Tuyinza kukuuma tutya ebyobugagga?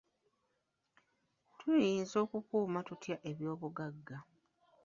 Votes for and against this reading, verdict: 0, 2, rejected